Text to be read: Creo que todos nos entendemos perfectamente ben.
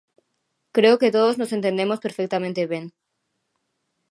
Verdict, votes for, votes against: accepted, 2, 0